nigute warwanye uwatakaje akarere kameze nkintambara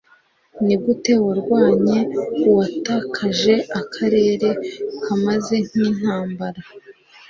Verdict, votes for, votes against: rejected, 0, 2